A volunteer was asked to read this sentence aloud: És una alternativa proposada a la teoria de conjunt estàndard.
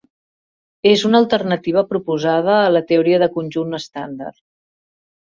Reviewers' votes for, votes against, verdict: 3, 0, accepted